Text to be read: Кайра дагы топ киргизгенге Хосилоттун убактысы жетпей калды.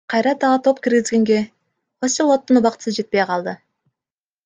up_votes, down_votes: 0, 2